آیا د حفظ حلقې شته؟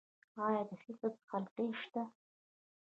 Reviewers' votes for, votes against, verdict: 1, 2, rejected